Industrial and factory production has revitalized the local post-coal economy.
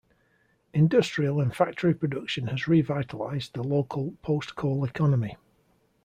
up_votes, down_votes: 2, 0